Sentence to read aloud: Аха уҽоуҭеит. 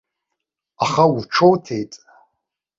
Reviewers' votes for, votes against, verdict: 2, 0, accepted